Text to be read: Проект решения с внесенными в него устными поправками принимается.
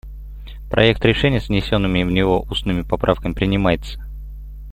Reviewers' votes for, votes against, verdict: 2, 0, accepted